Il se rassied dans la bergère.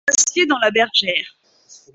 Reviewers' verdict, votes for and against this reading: rejected, 0, 2